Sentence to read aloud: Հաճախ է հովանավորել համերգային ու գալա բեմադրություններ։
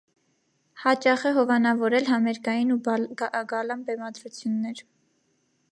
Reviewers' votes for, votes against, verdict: 1, 3, rejected